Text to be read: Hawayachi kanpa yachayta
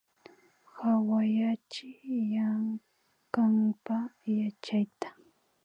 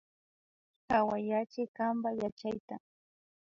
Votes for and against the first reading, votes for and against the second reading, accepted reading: 0, 2, 2, 0, second